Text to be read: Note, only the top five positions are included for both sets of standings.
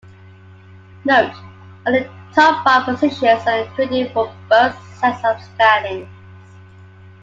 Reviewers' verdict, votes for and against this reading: accepted, 2, 0